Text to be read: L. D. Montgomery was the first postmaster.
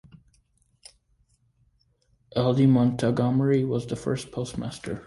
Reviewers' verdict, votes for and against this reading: accepted, 2, 1